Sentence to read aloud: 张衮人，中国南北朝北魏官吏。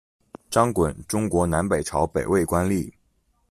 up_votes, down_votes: 0, 2